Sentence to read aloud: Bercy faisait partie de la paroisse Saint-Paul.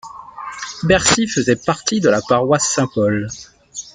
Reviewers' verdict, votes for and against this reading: rejected, 1, 2